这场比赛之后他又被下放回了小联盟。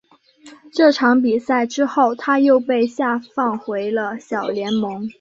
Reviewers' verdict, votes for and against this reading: accepted, 2, 0